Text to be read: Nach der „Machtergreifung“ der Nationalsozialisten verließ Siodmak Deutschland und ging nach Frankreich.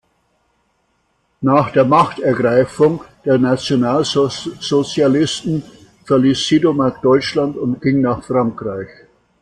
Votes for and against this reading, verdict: 0, 2, rejected